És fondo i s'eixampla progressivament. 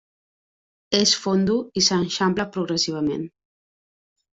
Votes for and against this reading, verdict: 0, 2, rejected